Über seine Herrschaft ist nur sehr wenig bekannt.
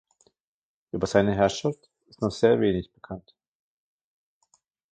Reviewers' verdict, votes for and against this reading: rejected, 1, 2